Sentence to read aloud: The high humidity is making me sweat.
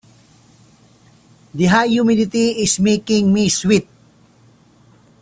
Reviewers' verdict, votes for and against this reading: rejected, 1, 2